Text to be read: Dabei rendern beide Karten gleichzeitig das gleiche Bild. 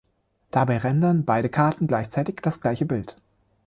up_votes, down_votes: 2, 0